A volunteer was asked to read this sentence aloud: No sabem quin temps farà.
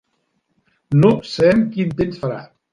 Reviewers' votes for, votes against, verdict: 1, 2, rejected